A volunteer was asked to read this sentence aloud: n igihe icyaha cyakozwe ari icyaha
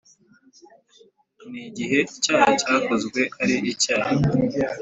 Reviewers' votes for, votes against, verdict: 2, 0, accepted